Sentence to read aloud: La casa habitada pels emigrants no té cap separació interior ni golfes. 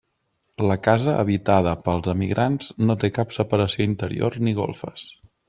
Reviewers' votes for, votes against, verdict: 3, 0, accepted